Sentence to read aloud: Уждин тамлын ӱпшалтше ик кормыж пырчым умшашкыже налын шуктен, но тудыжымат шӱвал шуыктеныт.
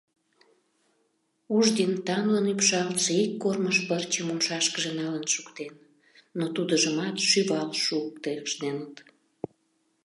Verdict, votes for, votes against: rejected, 0, 2